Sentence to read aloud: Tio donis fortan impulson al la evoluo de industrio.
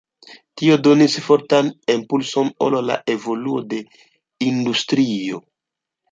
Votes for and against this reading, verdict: 0, 2, rejected